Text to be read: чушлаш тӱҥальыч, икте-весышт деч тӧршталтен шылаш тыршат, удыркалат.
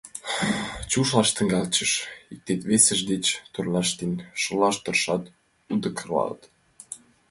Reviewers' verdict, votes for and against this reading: rejected, 0, 2